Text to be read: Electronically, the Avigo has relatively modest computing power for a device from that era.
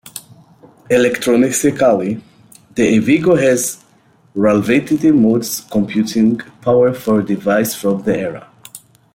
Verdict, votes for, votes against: rejected, 0, 2